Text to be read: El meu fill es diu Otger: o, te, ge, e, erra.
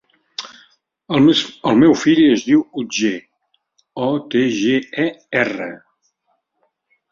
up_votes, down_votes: 0, 2